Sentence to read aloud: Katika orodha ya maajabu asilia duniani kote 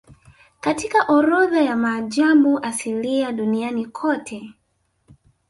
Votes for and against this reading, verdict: 1, 2, rejected